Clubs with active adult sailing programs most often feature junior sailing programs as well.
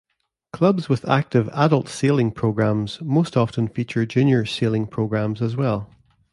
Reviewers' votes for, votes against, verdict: 2, 0, accepted